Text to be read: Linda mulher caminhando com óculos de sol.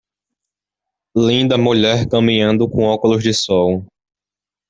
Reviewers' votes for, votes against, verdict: 2, 0, accepted